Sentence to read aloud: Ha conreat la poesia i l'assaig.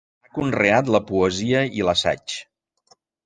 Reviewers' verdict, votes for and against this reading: rejected, 0, 2